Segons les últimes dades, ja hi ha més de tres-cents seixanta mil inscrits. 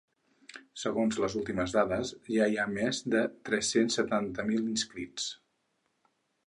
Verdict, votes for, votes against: rejected, 0, 6